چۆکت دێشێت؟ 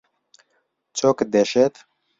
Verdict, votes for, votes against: accepted, 2, 0